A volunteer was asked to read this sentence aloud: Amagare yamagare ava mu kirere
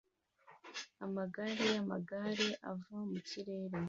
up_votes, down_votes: 2, 0